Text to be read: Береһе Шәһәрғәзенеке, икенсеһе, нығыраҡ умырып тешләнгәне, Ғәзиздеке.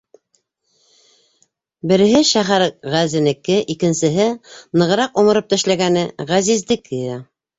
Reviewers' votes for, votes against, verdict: 1, 2, rejected